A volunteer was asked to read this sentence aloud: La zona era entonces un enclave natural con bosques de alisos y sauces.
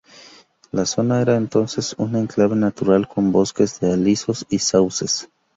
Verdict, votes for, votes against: rejected, 0, 2